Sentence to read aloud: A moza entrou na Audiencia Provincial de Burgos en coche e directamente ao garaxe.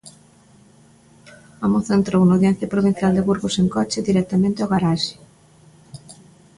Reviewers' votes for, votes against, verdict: 2, 0, accepted